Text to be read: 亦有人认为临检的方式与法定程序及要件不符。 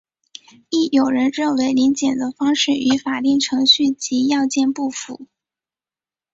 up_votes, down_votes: 5, 1